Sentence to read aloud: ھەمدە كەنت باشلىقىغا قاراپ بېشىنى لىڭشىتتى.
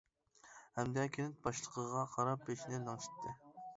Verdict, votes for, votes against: rejected, 0, 2